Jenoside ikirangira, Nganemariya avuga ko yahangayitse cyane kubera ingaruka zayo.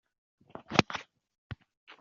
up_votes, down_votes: 0, 2